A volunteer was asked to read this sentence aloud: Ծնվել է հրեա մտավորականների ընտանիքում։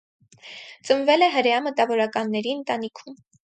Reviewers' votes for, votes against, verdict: 4, 0, accepted